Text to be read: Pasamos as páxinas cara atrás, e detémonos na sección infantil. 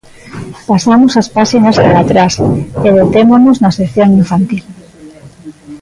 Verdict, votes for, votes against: rejected, 0, 2